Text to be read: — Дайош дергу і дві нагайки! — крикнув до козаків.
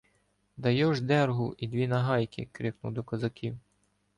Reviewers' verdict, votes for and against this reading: accepted, 2, 0